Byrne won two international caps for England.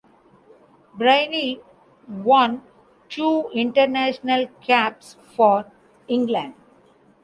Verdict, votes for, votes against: rejected, 0, 2